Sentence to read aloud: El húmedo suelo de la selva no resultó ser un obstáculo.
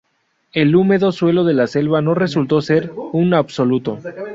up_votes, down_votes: 0, 2